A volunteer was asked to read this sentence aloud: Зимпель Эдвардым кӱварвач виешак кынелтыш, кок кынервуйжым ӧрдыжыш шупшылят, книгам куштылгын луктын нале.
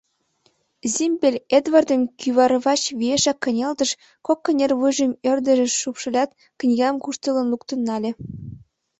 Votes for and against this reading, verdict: 2, 0, accepted